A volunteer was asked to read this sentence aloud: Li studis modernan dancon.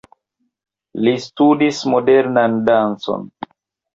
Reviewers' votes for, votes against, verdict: 2, 0, accepted